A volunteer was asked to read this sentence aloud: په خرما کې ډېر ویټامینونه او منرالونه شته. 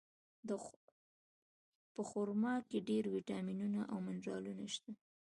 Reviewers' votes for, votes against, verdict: 2, 1, accepted